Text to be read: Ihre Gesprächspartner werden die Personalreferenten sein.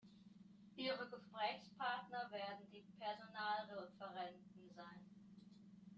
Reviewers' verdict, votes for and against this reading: rejected, 1, 2